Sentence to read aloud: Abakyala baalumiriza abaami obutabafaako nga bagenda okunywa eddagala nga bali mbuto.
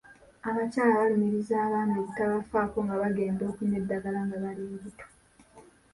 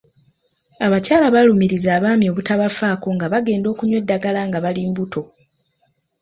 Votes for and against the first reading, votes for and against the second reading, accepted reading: 0, 2, 2, 0, second